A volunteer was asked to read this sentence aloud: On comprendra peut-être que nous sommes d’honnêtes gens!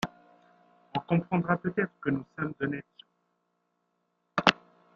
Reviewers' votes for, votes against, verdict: 0, 2, rejected